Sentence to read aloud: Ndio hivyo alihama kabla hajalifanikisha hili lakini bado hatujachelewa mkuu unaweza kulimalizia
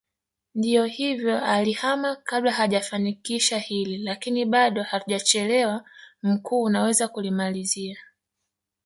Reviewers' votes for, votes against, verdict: 0, 2, rejected